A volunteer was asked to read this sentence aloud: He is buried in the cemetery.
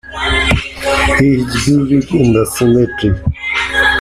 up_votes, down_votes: 0, 2